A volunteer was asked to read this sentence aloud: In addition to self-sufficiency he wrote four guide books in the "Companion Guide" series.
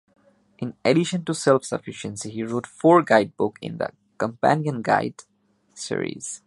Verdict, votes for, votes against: rejected, 0, 2